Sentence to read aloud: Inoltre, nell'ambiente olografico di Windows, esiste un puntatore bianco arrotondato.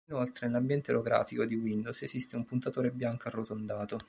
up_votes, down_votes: 0, 2